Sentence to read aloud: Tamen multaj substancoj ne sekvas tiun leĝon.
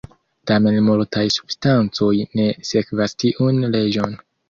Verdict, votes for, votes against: accepted, 2, 0